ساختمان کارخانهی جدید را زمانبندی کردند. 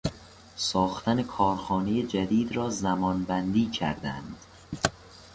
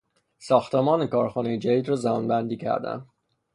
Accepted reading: second